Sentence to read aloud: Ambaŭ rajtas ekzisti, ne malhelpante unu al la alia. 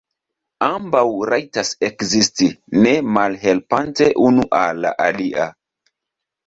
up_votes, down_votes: 2, 0